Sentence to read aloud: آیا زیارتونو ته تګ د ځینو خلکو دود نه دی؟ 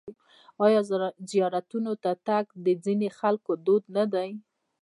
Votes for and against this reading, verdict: 1, 2, rejected